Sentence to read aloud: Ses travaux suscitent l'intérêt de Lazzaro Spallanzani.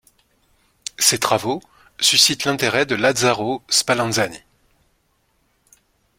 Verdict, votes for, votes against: accepted, 2, 0